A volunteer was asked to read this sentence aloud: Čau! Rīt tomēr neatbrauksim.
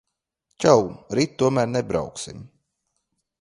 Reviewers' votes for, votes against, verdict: 0, 2, rejected